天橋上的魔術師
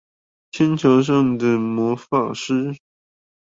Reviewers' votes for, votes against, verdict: 2, 4, rejected